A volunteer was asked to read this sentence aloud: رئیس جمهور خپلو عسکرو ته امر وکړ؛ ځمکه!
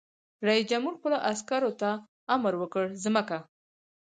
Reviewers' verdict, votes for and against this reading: rejected, 2, 4